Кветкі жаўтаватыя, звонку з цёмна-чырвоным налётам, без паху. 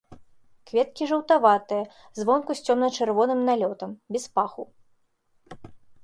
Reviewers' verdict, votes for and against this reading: rejected, 1, 2